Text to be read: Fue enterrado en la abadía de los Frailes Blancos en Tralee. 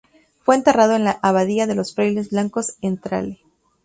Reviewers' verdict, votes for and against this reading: rejected, 0, 2